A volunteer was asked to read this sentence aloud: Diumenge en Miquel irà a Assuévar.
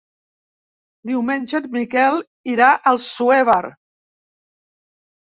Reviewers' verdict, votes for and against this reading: rejected, 1, 2